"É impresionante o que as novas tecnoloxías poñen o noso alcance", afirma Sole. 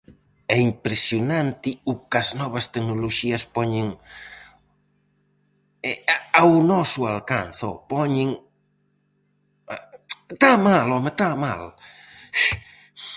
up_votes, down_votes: 0, 4